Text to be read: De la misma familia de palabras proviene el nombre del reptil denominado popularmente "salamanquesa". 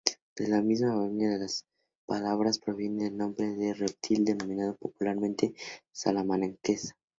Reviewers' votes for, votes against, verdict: 0, 2, rejected